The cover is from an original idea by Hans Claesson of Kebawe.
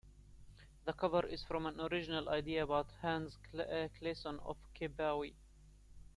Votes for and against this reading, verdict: 2, 1, accepted